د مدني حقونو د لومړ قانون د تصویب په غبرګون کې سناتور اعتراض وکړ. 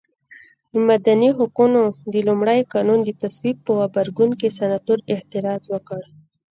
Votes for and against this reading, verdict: 2, 0, accepted